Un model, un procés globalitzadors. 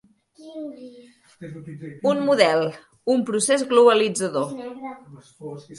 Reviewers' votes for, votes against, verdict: 2, 3, rejected